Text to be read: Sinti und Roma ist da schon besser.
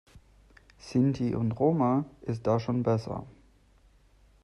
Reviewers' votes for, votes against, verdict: 2, 0, accepted